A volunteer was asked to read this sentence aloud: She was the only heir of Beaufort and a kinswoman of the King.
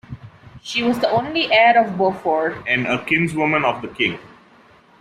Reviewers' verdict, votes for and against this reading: rejected, 0, 2